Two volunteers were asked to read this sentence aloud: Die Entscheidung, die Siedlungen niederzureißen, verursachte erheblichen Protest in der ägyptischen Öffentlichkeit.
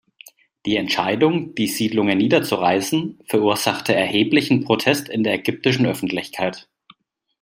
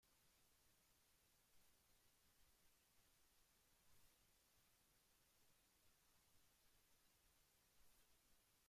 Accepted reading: first